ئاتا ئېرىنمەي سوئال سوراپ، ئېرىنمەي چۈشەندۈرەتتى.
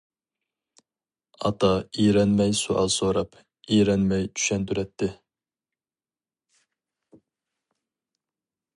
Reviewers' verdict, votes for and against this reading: rejected, 0, 2